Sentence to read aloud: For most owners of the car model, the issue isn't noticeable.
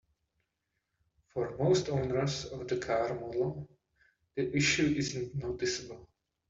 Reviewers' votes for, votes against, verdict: 2, 0, accepted